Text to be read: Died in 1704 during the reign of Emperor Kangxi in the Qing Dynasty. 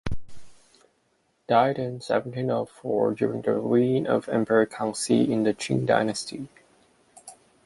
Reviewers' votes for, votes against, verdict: 0, 2, rejected